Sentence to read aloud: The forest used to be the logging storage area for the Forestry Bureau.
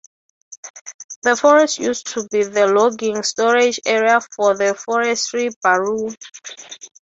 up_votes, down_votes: 6, 3